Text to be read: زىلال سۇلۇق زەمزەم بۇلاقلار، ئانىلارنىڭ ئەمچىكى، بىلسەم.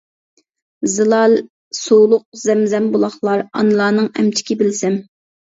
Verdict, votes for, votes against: accepted, 2, 0